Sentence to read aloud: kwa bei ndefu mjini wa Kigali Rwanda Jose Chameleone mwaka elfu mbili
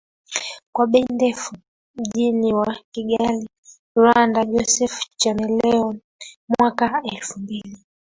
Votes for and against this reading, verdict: 0, 2, rejected